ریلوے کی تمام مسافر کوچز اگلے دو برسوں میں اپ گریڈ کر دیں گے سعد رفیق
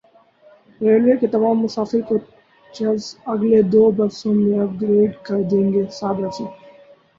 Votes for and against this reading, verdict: 0, 2, rejected